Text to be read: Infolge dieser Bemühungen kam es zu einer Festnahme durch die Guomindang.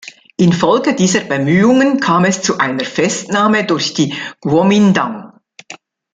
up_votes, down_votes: 2, 0